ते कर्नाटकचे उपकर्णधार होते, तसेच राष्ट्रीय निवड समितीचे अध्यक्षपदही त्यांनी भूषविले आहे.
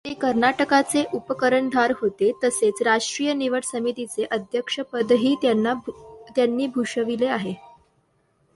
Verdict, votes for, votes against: rejected, 1, 2